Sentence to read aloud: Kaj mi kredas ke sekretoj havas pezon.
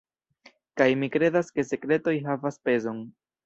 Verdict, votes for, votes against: rejected, 1, 2